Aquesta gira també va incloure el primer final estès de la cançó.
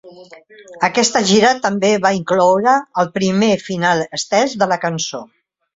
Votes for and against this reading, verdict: 3, 0, accepted